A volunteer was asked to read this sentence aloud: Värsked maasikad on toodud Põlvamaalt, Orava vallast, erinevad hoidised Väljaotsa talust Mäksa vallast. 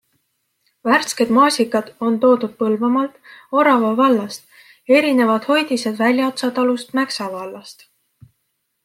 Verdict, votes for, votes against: accepted, 2, 0